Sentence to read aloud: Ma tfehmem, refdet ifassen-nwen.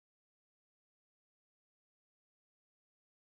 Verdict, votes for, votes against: rejected, 0, 2